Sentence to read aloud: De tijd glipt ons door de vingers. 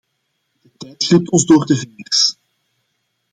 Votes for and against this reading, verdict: 0, 2, rejected